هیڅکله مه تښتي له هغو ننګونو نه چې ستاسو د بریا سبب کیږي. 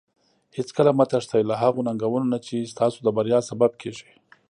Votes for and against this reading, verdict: 1, 2, rejected